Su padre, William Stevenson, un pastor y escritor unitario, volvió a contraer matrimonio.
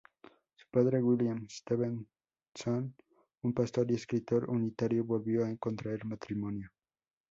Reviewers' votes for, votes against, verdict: 0, 2, rejected